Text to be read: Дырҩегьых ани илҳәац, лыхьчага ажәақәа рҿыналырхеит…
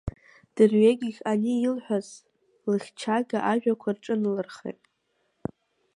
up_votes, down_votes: 1, 2